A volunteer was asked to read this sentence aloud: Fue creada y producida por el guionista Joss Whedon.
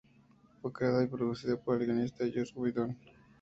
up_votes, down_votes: 2, 0